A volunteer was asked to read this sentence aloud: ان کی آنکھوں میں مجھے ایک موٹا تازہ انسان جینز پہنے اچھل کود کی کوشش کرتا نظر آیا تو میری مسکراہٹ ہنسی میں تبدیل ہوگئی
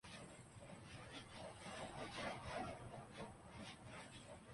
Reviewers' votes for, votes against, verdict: 0, 2, rejected